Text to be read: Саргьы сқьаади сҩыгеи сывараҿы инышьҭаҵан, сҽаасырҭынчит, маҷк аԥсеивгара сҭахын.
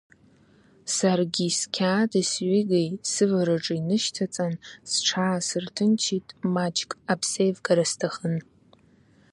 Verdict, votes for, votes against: accepted, 2, 0